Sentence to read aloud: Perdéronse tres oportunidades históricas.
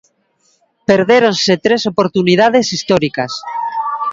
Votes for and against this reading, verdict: 2, 0, accepted